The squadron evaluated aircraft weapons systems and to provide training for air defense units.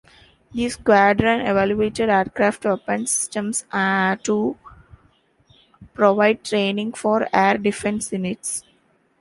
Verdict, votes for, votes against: rejected, 1, 2